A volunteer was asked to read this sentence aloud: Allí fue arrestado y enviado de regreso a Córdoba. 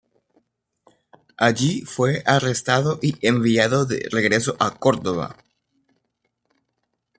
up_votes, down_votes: 1, 2